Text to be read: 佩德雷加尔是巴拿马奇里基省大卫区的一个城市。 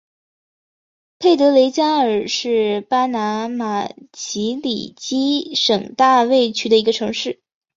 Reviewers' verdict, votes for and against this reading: accepted, 3, 2